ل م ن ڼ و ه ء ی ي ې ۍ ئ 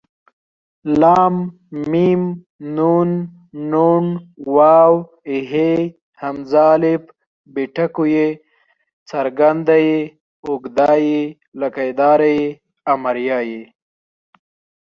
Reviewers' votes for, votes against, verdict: 4, 0, accepted